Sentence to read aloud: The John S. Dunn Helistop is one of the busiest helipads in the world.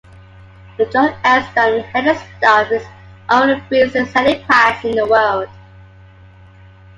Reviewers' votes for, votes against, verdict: 1, 2, rejected